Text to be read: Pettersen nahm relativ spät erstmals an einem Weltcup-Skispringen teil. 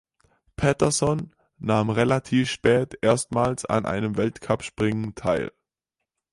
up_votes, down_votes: 0, 4